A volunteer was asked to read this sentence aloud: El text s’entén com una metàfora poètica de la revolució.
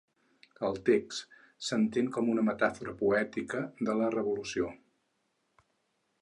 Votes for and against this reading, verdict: 6, 0, accepted